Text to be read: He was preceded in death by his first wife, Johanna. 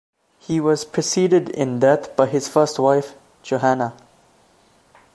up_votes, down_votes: 2, 1